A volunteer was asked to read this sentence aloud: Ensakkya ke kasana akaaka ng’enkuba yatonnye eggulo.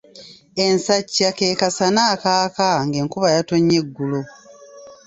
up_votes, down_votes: 1, 2